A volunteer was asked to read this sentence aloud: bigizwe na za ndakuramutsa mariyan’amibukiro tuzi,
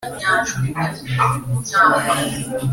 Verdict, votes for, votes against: rejected, 1, 2